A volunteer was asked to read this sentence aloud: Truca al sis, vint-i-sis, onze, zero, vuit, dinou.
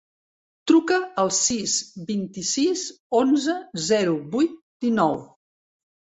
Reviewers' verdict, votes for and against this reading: accepted, 3, 0